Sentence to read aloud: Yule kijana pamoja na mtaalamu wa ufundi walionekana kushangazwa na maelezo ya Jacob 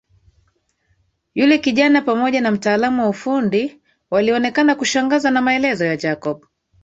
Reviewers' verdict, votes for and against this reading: accepted, 2, 0